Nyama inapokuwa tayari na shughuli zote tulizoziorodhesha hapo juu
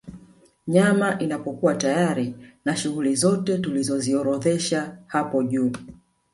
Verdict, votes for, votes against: rejected, 1, 2